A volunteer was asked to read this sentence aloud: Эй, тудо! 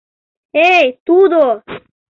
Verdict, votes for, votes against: accepted, 2, 0